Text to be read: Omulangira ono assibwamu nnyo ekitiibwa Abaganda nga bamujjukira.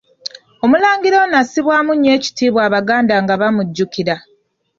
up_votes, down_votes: 2, 0